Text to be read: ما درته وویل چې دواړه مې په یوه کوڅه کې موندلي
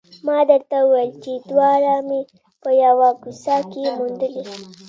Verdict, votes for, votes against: accepted, 2, 0